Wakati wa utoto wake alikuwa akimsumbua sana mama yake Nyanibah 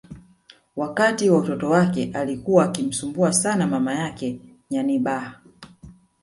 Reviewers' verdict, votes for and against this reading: rejected, 1, 2